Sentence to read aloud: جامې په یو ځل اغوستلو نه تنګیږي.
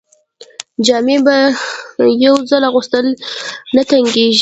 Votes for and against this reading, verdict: 0, 2, rejected